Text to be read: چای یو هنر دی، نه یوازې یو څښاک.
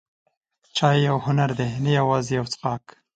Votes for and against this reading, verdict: 2, 0, accepted